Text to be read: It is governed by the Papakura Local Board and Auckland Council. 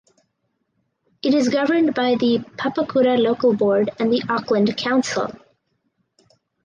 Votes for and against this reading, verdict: 0, 2, rejected